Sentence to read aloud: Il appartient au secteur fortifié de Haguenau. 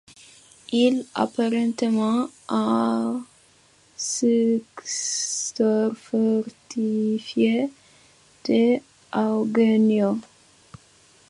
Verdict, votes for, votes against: rejected, 1, 2